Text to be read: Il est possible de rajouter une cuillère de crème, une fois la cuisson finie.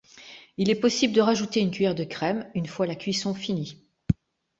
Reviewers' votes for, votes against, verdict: 3, 0, accepted